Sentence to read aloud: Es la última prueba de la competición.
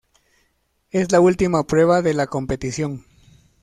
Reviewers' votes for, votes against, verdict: 2, 0, accepted